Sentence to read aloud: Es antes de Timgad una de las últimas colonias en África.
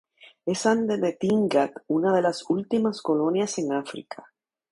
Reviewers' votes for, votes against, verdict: 0, 2, rejected